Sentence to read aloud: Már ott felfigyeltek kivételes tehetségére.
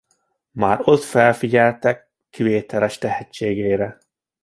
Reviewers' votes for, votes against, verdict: 2, 0, accepted